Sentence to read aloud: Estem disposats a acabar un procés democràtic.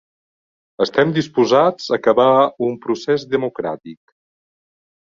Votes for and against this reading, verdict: 2, 0, accepted